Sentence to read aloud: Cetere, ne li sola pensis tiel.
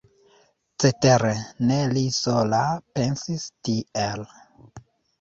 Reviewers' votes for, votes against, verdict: 1, 2, rejected